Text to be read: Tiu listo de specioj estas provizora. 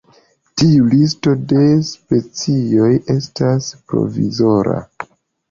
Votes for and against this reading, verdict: 1, 2, rejected